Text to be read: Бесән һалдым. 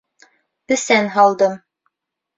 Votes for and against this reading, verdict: 2, 0, accepted